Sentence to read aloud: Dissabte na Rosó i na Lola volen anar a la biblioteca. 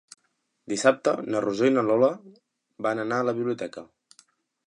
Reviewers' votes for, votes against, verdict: 0, 2, rejected